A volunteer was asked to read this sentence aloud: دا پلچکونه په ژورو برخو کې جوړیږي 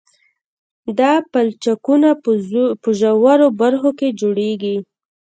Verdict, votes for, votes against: rejected, 0, 2